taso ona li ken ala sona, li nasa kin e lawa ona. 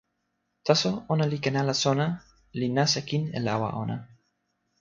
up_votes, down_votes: 2, 0